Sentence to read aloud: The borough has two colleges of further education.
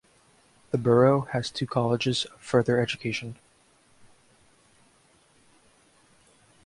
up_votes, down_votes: 1, 2